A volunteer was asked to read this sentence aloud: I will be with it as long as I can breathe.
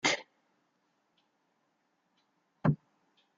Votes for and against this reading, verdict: 0, 2, rejected